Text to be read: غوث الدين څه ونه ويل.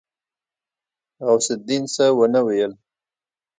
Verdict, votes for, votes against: accepted, 2, 0